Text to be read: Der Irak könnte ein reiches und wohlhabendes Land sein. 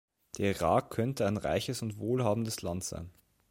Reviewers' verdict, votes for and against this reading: accepted, 2, 0